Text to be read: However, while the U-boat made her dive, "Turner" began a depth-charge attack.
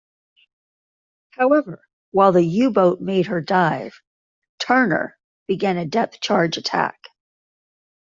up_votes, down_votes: 2, 0